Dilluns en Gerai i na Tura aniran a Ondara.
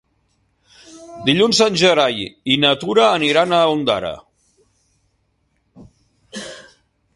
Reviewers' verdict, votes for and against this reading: accepted, 3, 0